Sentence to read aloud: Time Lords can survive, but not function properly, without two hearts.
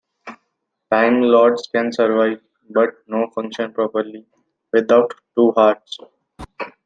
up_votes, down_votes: 2, 0